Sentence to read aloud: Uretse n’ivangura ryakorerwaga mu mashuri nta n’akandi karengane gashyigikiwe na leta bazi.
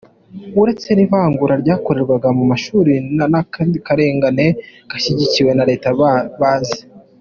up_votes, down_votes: 2, 1